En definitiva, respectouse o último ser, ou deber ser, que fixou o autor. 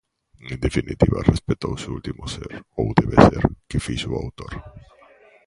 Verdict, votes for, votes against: rejected, 1, 2